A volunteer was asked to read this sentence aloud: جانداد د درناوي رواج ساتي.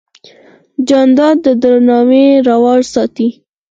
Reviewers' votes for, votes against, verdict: 2, 4, rejected